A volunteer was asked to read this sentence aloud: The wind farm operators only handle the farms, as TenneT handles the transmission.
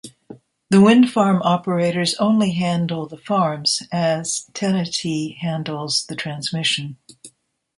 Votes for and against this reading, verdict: 2, 0, accepted